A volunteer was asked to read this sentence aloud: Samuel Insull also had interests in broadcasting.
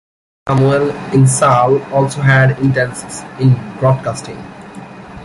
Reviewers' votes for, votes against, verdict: 1, 2, rejected